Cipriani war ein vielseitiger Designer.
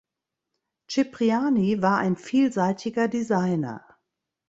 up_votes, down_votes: 2, 0